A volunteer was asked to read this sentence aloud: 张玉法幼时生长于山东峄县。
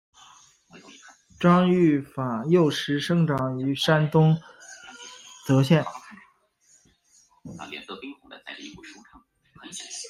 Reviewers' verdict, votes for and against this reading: rejected, 1, 2